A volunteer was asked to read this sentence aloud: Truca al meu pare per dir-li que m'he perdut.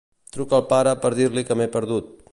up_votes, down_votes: 0, 2